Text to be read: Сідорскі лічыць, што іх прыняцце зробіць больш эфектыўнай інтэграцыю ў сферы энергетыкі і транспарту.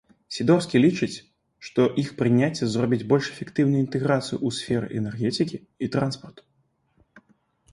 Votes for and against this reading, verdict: 2, 0, accepted